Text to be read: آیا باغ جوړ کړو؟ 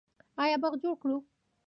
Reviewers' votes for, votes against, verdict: 0, 2, rejected